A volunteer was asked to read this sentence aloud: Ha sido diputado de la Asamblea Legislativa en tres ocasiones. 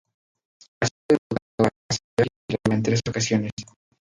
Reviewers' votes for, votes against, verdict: 0, 2, rejected